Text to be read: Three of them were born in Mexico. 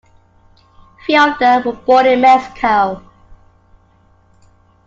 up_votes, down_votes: 0, 2